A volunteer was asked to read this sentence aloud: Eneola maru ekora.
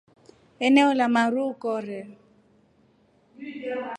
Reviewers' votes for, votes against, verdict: 2, 0, accepted